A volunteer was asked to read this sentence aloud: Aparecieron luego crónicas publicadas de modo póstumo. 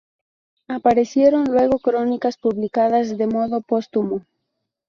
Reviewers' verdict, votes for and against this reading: rejected, 0, 2